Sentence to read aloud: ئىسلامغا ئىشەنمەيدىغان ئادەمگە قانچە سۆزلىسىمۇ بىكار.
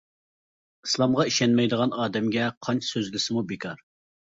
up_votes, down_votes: 2, 0